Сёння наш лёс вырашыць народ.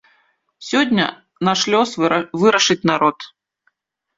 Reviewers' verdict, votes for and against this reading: rejected, 1, 2